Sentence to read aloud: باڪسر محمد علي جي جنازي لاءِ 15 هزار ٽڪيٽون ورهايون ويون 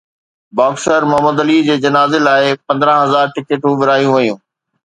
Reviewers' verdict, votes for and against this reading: rejected, 0, 2